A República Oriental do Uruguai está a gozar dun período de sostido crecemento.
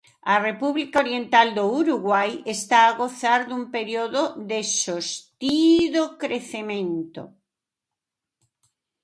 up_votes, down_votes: 0, 2